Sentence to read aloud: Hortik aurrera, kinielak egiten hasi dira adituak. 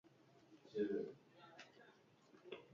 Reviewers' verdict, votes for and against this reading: rejected, 0, 2